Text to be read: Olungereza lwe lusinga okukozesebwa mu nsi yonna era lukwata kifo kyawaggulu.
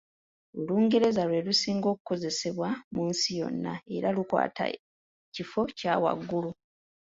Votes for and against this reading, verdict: 2, 0, accepted